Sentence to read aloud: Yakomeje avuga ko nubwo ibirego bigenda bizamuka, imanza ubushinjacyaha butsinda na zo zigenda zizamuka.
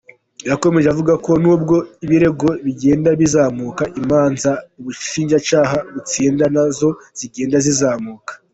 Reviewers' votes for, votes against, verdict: 2, 1, accepted